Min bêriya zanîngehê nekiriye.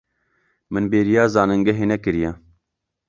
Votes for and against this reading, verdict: 2, 0, accepted